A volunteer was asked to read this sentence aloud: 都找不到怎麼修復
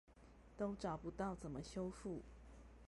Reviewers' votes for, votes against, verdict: 0, 2, rejected